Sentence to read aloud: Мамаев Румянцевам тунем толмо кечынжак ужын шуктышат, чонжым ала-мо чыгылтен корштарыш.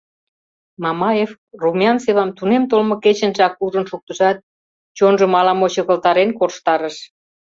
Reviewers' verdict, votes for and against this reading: rejected, 0, 2